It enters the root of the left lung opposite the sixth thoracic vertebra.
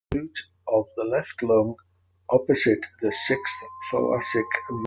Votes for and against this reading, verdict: 0, 2, rejected